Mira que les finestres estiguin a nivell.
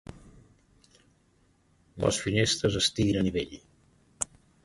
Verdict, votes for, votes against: rejected, 0, 2